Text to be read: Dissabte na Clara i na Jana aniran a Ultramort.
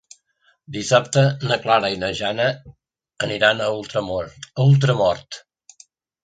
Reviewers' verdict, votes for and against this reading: rejected, 0, 2